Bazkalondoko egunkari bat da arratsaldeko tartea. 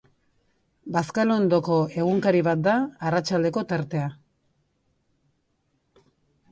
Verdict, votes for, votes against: accepted, 3, 0